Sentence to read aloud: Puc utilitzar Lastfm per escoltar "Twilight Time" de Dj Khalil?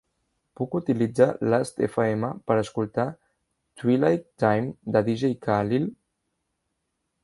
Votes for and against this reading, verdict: 2, 0, accepted